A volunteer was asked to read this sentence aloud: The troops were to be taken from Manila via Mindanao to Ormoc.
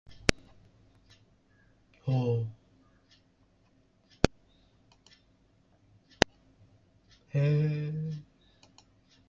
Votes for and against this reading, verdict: 0, 2, rejected